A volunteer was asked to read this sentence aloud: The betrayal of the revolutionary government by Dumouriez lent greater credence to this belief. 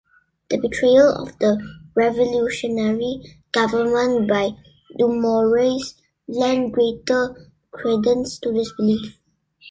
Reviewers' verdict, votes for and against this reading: accepted, 2, 0